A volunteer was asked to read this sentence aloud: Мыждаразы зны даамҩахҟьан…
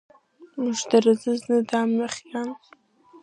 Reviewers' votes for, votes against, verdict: 1, 2, rejected